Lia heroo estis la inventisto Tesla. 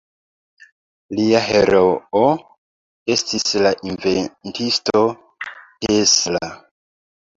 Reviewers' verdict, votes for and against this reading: accepted, 2, 0